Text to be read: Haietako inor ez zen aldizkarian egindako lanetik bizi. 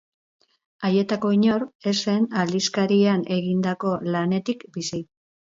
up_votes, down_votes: 4, 0